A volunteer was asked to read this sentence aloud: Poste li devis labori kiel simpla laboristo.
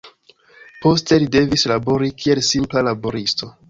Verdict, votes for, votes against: accepted, 2, 1